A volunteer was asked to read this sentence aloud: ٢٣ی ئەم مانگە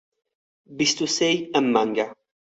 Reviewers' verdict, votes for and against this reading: rejected, 0, 2